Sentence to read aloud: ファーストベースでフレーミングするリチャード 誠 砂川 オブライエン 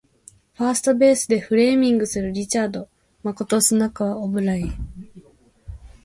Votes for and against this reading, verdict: 2, 1, accepted